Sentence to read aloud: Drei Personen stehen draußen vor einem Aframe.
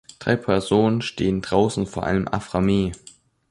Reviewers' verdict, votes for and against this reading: accepted, 2, 0